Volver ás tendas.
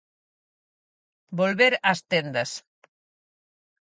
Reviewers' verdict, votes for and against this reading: accepted, 4, 0